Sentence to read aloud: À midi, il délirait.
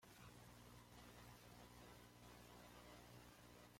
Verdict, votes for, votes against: rejected, 0, 2